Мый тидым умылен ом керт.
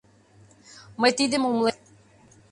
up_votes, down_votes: 0, 2